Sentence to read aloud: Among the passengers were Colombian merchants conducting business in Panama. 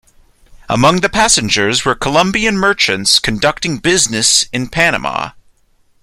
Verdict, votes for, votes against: accepted, 2, 0